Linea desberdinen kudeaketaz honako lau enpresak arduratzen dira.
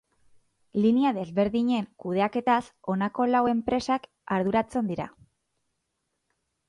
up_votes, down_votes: 4, 0